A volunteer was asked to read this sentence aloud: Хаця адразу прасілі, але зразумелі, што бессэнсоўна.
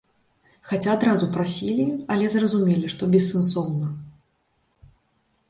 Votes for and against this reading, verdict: 2, 0, accepted